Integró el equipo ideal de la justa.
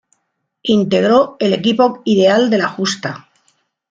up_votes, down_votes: 2, 0